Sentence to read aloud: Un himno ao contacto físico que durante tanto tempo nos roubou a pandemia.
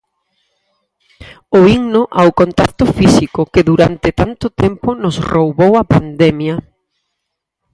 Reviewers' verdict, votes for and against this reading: rejected, 2, 2